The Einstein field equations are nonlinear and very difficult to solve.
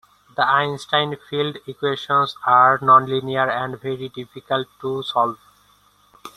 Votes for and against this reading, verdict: 2, 0, accepted